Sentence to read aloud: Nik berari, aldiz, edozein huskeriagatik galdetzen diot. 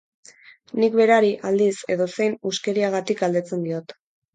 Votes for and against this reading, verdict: 2, 0, accepted